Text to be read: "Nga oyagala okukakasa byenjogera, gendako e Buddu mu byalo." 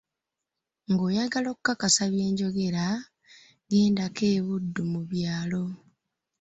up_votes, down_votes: 2, 0